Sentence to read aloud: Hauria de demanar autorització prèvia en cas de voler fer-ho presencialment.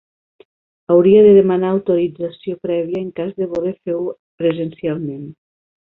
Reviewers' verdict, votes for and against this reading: rejected, 0, 2